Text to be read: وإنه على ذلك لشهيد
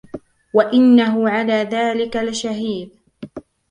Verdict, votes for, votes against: accepted, 2, 1